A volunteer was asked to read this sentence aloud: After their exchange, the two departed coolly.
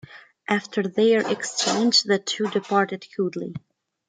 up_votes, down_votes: 2, 0